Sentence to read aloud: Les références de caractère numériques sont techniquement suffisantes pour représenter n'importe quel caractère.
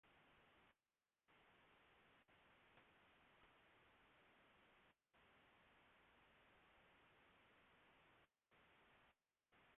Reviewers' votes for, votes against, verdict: 0, 2, rejected